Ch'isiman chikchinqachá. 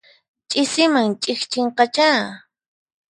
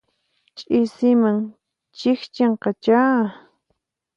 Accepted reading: second